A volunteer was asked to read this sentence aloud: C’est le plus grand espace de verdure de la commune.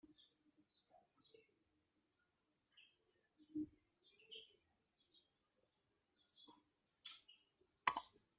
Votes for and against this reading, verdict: 0, 2, rejected